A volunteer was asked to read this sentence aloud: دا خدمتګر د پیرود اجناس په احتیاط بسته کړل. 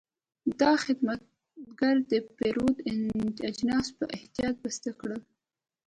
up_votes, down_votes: 2, 0